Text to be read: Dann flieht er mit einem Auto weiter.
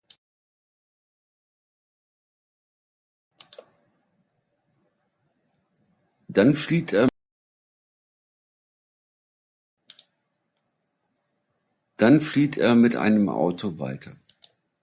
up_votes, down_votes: 0, 2